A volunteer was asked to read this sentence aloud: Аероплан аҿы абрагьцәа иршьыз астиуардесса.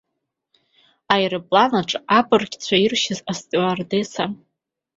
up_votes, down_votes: 2, 0